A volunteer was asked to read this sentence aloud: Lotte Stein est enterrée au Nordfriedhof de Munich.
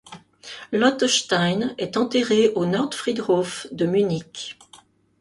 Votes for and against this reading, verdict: 2, 0, accepted